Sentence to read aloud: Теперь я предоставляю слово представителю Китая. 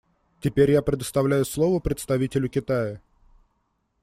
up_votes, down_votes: 2, 0